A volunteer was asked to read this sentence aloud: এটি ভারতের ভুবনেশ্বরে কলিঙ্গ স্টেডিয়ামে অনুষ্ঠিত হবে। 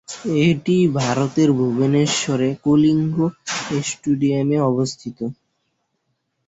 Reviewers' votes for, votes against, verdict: 0, 2, rejected